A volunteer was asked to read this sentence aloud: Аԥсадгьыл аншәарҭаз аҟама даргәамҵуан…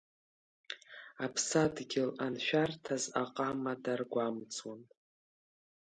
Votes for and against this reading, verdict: 3, 0, accepted